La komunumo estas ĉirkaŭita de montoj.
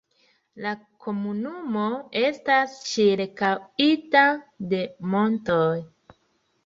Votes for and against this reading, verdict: 1, 2, rejected